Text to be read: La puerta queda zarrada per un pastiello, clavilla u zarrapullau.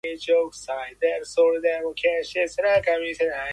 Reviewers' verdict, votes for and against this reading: rejected, 0, 2